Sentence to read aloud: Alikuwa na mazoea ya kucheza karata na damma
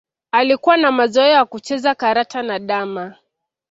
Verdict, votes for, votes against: accepted, 2, 0